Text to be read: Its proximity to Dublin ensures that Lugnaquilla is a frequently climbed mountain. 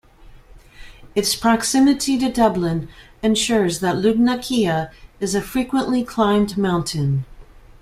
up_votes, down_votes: 2, 0